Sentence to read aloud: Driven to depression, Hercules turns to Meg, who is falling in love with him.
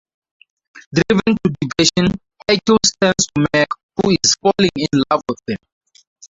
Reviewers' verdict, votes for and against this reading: rejected, 0, 2